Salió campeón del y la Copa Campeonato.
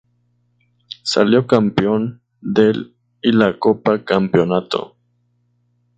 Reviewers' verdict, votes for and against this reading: rejected, 0, 2